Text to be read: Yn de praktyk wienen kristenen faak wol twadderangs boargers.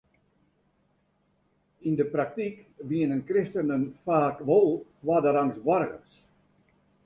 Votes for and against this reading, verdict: 1, 2, rejected